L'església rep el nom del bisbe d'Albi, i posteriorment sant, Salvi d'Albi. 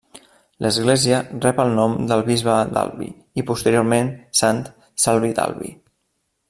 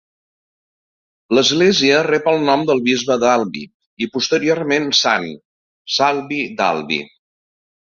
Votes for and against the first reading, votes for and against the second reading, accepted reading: 0, 2, 3, 0, second